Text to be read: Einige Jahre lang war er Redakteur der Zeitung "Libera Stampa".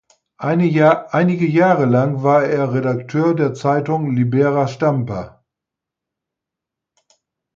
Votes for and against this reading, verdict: 0, 4, rejected